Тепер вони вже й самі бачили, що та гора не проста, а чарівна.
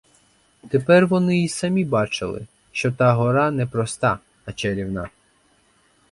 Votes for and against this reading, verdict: 0, 4, rejected